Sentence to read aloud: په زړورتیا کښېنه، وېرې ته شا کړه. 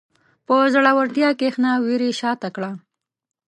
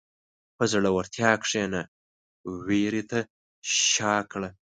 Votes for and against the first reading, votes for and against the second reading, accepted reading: 1, 2, 2, 0, second